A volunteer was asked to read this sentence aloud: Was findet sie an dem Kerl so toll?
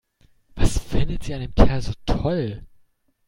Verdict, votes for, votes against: accepted, 2, 0